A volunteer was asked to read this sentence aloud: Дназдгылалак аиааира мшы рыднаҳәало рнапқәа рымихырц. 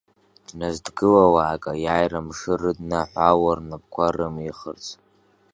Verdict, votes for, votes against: rejected, 1, 2